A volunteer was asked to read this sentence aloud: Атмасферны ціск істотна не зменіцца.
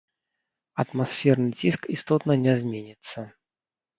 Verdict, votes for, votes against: accepted, 2, 0